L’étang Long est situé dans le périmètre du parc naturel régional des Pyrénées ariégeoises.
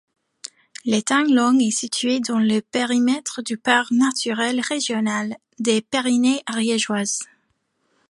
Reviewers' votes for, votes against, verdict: 2, 0, accepted